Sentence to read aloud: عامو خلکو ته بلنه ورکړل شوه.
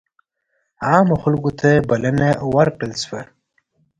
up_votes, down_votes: 2, 0